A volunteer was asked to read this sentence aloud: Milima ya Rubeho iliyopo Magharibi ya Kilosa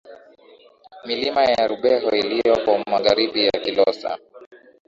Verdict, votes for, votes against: accepted, 2, 0